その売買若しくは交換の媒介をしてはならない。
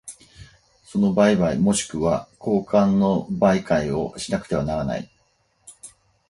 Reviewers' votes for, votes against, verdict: 0, 4, rejected